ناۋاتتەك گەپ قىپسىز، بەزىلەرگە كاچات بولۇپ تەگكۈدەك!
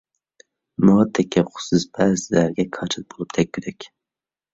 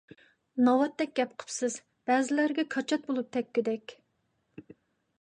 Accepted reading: second